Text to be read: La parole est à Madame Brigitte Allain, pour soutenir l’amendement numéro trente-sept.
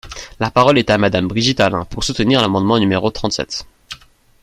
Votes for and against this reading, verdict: 2, 0, accepted